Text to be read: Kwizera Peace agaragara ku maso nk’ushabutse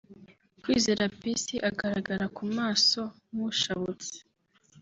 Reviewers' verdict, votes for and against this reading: accepted, 2, 0